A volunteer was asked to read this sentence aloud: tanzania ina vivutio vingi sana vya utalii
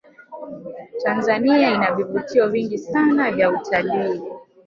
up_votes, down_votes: 2, 0